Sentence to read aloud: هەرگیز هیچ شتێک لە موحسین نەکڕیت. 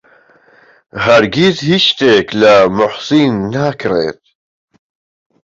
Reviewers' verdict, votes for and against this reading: rejected, 1, 2